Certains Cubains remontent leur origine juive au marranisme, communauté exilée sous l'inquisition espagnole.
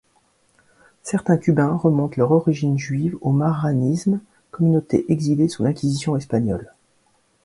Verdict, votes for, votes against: rejected, 0, 2